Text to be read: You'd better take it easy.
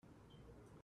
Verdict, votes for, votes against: rejected, 0, 2